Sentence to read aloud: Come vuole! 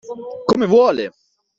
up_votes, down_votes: 2, 0